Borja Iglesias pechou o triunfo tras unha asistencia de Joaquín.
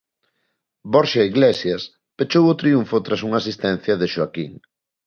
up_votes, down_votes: 0, 3